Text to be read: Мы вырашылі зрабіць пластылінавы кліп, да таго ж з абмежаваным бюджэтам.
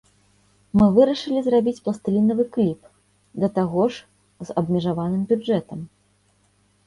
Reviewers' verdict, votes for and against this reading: rejected, 1, 2